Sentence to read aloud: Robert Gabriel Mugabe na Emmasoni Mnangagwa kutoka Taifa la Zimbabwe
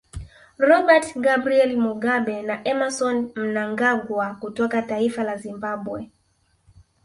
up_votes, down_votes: 1, 2